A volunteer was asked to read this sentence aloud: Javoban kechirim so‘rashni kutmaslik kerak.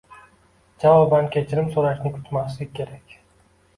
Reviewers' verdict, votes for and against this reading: accepted, 2, 0